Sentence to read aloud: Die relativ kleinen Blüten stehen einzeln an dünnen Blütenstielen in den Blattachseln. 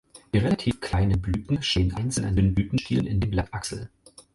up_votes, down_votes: 4, 0